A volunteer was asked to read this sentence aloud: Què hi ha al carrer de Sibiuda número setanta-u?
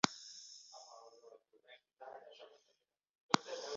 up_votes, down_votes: 0, 2